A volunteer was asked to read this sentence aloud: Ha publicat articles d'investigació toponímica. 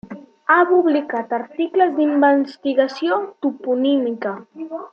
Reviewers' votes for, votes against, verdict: 1, 2, rejected